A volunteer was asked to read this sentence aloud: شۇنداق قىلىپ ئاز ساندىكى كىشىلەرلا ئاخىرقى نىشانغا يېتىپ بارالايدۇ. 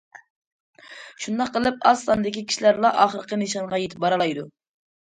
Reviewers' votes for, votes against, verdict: 2, 0, accepted